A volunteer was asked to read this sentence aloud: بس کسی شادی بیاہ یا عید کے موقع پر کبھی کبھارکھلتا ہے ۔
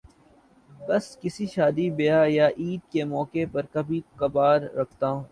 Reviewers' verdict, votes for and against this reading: rejected, 0, 3